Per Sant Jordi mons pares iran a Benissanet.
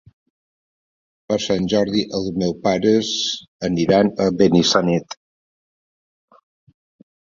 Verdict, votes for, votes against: rejected, 0, 2